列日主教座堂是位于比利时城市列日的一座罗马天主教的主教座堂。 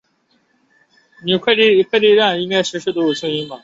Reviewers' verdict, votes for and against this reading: rejected, 0, 2